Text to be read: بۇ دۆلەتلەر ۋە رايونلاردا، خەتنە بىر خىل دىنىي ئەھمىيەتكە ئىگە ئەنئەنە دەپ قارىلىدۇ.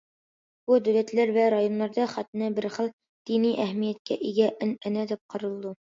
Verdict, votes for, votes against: accepted, 2, 0